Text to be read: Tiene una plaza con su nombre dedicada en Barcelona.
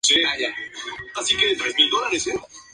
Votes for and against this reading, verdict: 0, 6, rejected